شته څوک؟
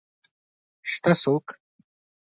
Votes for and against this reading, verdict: 2, 0, accepted